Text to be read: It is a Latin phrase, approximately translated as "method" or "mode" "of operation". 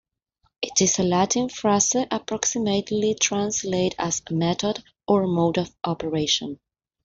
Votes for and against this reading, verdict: 2, 1, accepted